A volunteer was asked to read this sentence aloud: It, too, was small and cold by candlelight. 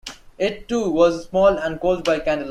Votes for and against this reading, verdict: 0, 2, rejected